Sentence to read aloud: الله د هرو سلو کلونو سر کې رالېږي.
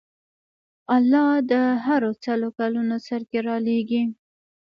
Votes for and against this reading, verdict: 2, 1, accepted